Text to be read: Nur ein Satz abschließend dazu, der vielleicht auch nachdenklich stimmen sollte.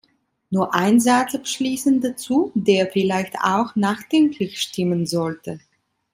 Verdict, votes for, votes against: accepted, 2, 0